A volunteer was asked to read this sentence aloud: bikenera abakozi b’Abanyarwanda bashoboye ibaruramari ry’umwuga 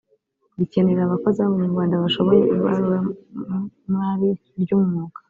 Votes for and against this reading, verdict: 1, 2, rejected